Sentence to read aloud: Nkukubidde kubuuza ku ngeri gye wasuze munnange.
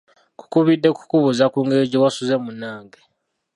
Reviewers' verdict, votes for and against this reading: rejected, 0, 2